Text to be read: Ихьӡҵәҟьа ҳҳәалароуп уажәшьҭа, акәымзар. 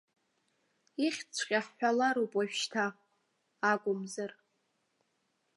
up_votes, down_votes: 2, 0